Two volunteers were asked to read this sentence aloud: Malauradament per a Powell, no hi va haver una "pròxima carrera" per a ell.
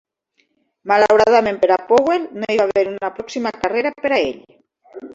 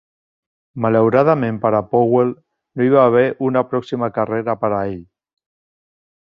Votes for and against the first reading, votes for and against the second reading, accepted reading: 1, 2, 3, 0, second